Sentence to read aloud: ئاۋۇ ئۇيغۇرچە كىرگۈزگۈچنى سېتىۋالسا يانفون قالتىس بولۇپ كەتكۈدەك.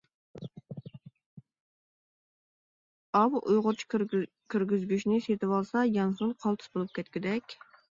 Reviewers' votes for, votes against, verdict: 0, 2, rejected